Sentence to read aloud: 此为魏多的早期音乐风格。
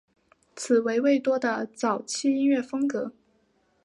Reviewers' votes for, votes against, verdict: 2, 0, accepted